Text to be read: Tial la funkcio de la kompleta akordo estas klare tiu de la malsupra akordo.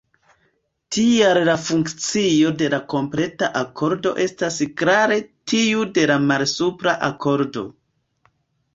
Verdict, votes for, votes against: accepted, 2, 1